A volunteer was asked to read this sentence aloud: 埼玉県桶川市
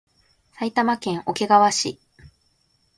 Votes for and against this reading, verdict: 2, 0, accepted